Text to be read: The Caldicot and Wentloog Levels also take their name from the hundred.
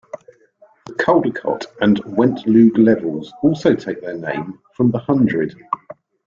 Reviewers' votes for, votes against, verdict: 2, 0, accepted